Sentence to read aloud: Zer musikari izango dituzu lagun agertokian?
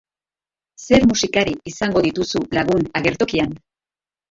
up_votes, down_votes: 0, 2